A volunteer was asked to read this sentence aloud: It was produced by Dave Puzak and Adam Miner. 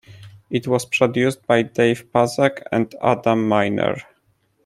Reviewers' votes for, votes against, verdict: 2, 0, accepted